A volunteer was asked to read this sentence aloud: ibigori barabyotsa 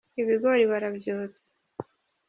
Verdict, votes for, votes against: rejected, 0, 2